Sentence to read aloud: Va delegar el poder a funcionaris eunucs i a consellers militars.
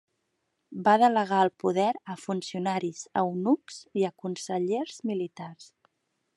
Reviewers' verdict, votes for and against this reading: accepted, 2, 0